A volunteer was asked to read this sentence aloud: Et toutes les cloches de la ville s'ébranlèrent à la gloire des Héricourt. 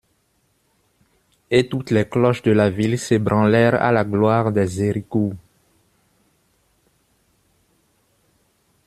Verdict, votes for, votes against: accepted, 2, 1